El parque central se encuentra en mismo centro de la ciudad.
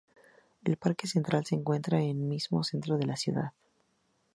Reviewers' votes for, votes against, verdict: 2, 0, accepted